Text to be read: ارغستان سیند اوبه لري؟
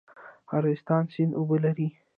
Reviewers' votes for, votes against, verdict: 2, 0, accepted